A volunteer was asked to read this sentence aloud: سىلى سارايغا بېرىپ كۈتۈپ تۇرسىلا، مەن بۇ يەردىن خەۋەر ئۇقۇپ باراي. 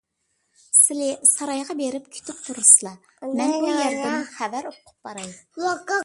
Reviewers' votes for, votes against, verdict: 1, 2, rejected